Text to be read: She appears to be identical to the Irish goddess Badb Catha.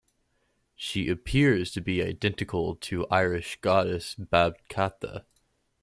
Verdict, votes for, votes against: rejected, 1, 2